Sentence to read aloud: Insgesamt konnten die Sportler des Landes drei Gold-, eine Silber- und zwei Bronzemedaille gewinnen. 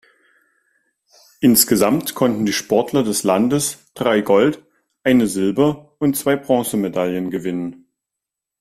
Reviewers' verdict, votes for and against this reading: accepted, 2, 0